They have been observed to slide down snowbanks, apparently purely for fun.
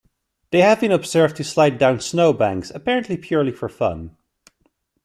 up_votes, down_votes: 2, 0